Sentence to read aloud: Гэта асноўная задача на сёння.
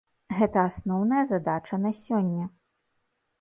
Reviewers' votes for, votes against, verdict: 2, 0, accepted